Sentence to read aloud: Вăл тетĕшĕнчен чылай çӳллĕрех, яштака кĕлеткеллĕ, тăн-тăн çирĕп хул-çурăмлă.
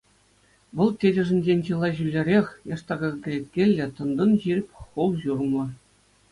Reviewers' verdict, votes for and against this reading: accepted, 2, 0